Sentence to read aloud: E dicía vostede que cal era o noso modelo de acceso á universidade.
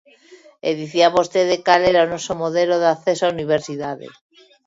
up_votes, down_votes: 1, 2